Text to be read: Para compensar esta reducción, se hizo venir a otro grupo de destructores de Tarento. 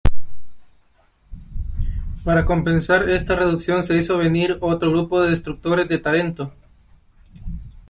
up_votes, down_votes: 2, 1